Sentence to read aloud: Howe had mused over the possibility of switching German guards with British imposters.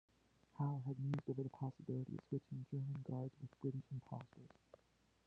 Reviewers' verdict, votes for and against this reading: rejected, 0, 2